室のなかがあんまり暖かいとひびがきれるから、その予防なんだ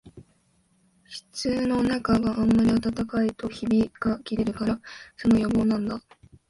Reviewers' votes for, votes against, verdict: 4, 2, accepted